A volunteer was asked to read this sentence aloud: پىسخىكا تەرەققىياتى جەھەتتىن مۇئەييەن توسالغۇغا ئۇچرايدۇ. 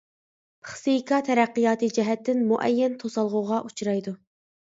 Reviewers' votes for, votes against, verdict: 0, 2, rejected